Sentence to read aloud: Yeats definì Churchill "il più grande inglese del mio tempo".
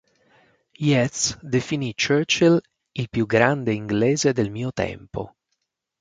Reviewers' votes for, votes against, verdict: 6, 0, accepted